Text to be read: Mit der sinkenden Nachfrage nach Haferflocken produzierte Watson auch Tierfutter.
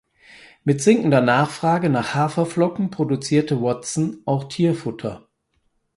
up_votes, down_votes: 0, 4